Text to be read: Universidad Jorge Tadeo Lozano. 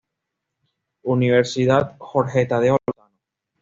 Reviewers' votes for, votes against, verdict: 1, 2, rejected